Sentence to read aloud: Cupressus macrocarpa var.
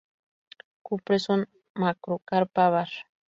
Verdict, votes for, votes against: accepted, 2, 0